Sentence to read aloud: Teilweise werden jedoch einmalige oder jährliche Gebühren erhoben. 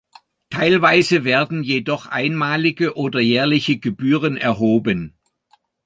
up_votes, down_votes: 2, 0